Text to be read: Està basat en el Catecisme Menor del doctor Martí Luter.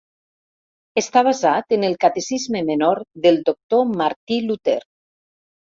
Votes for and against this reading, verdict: 3, 0, accepted